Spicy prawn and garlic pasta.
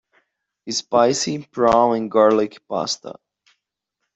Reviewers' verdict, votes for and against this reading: rejected, 0, 2